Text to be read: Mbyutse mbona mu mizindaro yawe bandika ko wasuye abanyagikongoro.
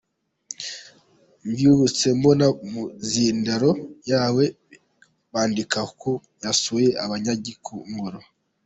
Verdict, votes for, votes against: accepted, 2, 0